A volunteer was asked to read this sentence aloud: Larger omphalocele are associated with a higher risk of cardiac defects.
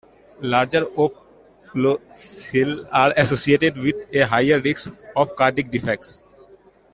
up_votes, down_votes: 1, 2